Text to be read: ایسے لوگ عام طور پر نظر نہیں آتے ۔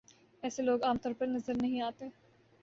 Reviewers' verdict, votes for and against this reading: accepted, 2, 0